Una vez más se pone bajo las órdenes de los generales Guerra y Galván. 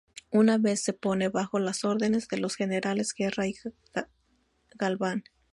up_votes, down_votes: 0, 2